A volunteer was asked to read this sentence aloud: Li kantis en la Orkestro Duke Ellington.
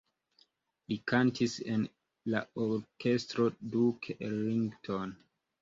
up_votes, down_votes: 2, 0